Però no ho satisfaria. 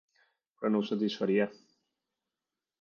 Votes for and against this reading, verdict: 0, 2, rejected